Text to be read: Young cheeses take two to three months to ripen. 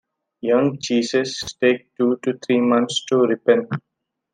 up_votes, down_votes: 2, 1